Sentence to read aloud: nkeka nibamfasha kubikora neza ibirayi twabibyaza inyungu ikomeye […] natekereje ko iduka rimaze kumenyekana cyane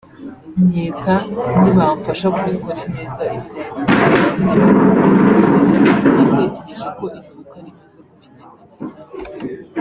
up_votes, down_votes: 2, 1